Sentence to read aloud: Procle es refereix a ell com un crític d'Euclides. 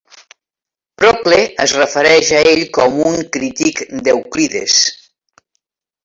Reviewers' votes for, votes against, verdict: 1, 2, rejected